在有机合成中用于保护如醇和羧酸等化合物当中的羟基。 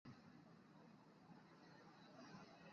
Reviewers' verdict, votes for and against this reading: accepted, 4, 2